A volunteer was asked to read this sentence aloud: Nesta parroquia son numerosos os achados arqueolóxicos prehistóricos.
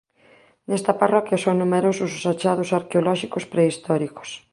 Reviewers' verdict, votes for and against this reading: accepted, 3, 0